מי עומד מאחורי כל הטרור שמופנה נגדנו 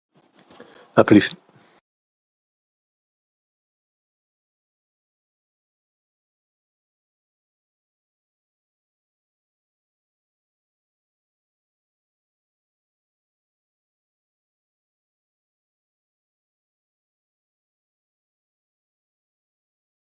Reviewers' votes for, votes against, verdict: 0, 2, rejected